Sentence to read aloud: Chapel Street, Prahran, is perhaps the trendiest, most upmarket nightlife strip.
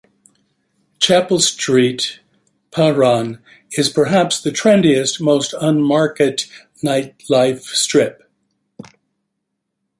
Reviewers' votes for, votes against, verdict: 0, 2, rejected